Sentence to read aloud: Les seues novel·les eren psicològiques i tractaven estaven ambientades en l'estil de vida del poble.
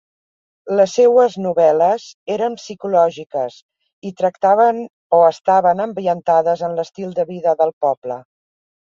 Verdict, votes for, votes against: rejected, 0, 2